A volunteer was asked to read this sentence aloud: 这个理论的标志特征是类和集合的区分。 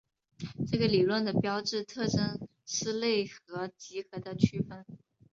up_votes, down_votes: 2, 0